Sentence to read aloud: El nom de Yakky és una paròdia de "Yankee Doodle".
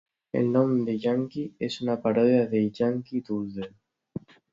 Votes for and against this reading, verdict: 0, 2, rejected